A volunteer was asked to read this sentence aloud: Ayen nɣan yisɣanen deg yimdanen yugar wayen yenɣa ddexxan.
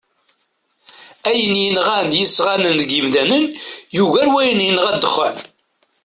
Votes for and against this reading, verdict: 0, 2, rejected